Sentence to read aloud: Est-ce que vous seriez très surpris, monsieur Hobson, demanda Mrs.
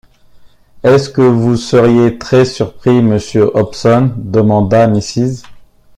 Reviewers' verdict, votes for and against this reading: accepted, 2, 0